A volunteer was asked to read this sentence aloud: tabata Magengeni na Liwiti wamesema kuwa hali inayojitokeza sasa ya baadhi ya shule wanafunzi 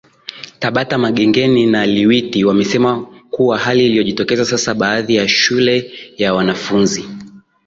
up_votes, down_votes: 0, 2